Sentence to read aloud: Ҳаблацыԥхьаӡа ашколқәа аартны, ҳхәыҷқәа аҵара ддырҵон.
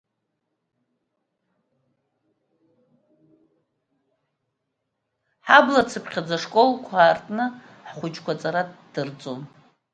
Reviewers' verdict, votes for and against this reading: rejected, 1, 2